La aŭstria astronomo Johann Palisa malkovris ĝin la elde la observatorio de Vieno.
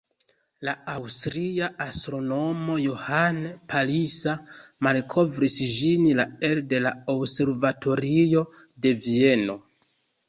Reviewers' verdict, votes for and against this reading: rejected, 0, 2